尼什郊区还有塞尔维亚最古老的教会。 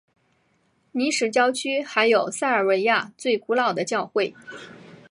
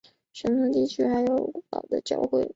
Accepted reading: first